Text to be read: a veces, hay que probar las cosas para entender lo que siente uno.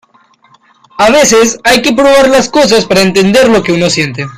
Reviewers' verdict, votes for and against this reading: accepted, 2, 0